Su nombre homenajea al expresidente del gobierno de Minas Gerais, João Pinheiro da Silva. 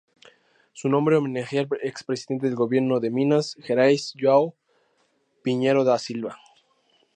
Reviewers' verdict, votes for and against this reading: accepted, 4, 0